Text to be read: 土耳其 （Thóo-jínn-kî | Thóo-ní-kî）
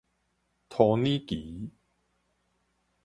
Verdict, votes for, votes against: rejected, 2, 2